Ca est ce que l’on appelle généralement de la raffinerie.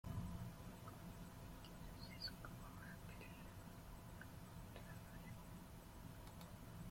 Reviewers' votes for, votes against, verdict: 0, 2, rejected